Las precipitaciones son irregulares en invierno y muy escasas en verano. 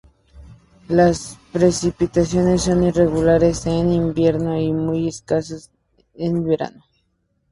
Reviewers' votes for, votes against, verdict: 2, 0, accepted